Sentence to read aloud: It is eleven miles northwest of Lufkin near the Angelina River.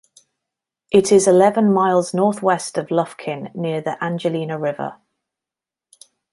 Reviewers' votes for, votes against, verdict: 2, 0, accepted